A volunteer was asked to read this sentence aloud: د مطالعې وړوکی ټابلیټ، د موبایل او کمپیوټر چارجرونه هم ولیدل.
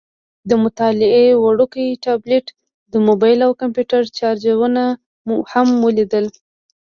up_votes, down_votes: 2, 0